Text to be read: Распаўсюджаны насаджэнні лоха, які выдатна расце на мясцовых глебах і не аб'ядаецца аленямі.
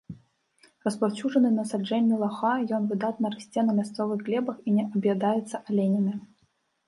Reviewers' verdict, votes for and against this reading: rejected, 0, 2